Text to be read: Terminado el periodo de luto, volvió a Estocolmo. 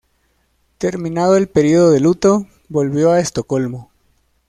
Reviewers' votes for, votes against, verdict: 2, 0, accepted